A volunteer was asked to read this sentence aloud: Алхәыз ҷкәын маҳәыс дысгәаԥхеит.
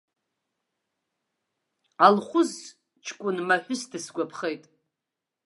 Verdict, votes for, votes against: rejected, 0, 2